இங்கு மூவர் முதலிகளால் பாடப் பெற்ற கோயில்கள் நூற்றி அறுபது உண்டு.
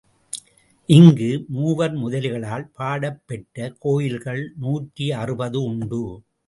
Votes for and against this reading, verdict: 2, 0, accepted